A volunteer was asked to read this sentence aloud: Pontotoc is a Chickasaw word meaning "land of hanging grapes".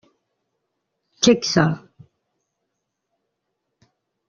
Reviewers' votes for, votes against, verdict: 0, 2, rejected